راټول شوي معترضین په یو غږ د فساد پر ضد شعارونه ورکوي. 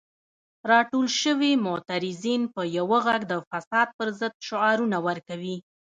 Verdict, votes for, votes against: accepted, 2, 0